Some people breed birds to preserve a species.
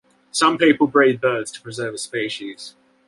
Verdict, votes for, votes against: accepted, 2, 0